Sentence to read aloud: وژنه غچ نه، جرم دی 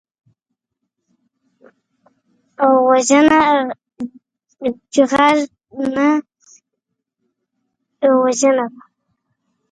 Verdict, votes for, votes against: rejected, 0, 2